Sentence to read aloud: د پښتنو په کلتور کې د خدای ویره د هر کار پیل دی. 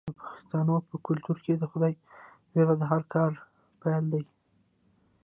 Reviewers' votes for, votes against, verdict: 2, 0, accepted